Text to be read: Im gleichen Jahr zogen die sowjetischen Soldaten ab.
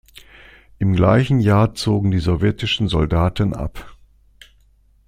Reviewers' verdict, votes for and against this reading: accepted, 2, 0